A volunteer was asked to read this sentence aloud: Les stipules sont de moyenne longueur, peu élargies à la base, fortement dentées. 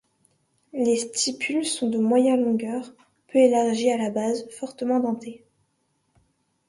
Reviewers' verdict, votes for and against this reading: accepted, 2, 0